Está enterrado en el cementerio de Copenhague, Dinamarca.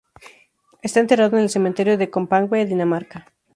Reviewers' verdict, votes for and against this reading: rejected, 0, 4